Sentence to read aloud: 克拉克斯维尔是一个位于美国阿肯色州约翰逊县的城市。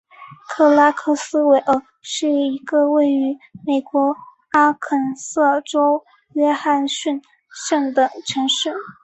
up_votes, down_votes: 4, 0